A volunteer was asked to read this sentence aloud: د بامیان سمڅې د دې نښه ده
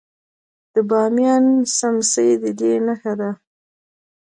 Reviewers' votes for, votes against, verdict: 2, 1, accepted